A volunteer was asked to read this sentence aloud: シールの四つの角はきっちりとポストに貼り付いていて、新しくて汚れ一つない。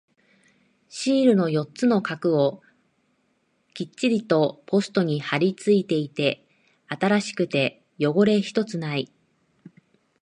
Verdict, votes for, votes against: rejected, 1, 2